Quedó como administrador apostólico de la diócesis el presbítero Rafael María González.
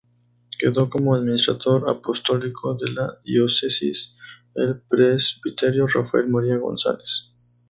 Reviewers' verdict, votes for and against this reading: rejected, 0, 2